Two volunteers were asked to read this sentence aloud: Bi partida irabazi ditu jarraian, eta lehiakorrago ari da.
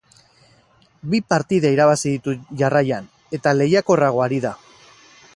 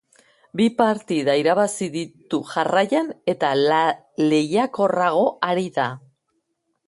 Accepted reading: first